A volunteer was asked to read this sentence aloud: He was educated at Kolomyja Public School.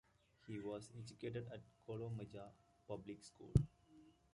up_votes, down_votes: 0, 2